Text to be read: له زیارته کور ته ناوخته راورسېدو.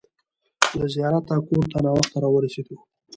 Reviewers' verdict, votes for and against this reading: rejected, 1, 2